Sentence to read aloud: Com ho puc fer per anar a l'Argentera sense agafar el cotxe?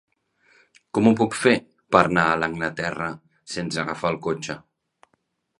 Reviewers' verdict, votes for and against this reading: rejected, 0, 2